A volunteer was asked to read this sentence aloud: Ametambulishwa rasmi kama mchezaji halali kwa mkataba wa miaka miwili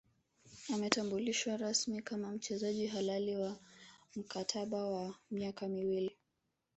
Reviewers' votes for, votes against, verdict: 0, 2, rejected